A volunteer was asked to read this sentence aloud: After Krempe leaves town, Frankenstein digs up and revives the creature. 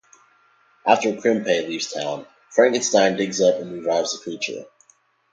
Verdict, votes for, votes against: accepted, 2, 0